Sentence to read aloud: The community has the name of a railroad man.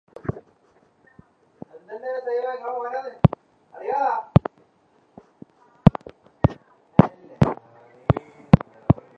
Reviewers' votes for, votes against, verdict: 0, 2, rejected